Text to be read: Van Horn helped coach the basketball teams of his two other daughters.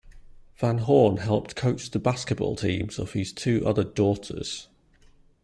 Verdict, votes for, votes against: accepted, 2, 0